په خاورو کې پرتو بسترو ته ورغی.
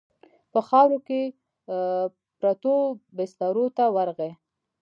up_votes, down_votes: 2, 0